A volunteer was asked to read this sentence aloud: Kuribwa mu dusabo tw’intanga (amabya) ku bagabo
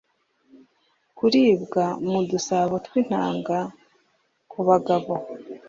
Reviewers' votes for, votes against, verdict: 0, 2, rejected